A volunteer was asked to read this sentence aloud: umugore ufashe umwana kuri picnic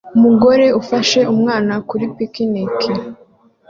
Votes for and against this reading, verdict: 2, 0, accepted